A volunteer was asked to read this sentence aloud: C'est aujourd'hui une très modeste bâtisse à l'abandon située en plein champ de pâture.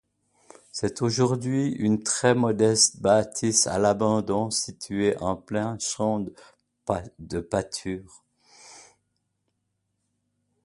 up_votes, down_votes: 2, 0